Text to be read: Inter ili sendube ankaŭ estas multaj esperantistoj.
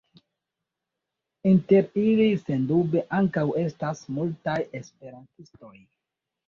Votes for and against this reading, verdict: 2, 1, accepted